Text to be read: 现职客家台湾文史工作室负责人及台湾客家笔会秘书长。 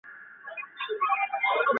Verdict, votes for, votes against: rejected, 1, 3